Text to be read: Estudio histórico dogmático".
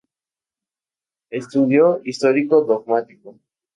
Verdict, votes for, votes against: accepted, 2, 0